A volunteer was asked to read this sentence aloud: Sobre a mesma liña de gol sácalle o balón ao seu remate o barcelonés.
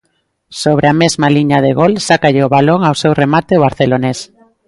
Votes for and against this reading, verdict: 1, 2, rejected